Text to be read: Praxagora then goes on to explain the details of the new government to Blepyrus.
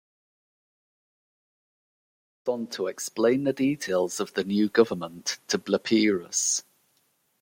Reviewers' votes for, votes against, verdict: 1, 2, rejected